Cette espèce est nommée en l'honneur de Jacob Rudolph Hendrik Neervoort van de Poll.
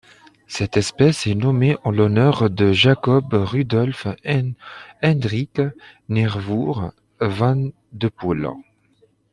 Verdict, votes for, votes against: rejected, 1, 2